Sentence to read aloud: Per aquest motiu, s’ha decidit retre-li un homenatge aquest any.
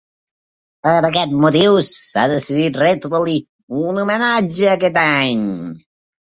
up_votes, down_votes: 2, 1